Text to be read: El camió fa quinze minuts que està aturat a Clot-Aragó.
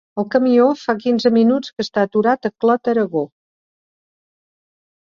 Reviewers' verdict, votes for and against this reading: accepted, 3, 0